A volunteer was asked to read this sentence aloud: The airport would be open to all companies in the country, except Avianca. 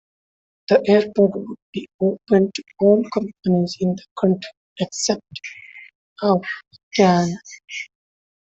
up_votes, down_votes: 1, 2